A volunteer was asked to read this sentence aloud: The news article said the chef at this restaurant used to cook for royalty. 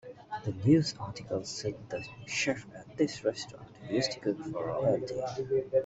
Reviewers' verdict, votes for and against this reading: rejected, 0, 2